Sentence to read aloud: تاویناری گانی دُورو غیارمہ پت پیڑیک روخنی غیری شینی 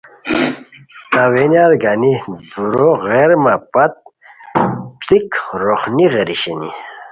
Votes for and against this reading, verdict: 2, 0, accepted